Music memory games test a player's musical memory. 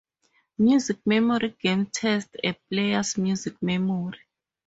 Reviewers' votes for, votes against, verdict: 2, 2, rejected